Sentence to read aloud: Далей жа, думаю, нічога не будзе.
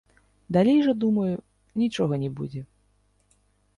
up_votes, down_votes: 1, 2